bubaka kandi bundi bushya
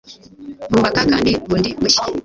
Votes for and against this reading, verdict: 1, 2, rejected